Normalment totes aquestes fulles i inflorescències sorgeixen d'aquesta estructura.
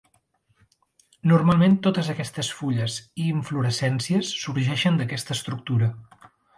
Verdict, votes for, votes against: accepted, 3, 1